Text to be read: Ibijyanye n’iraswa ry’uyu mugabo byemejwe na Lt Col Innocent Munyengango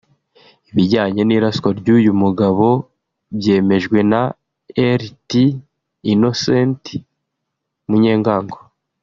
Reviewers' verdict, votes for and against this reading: rejected, 1, 2